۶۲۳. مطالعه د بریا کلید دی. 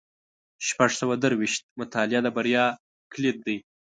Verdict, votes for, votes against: rejected, 0, 2